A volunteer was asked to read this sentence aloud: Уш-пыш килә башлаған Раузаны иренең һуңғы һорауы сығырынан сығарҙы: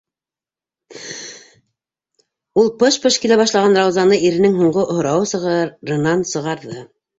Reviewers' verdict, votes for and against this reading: rejected, 0, 2